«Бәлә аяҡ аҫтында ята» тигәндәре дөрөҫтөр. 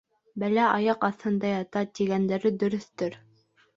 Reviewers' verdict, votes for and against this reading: accepted, 2, 0